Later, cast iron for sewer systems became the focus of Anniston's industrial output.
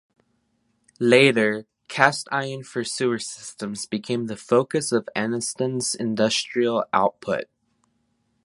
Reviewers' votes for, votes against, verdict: 3, 0, accepted